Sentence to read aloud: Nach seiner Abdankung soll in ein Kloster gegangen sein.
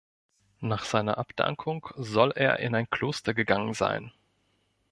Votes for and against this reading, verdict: 0, 2, rejected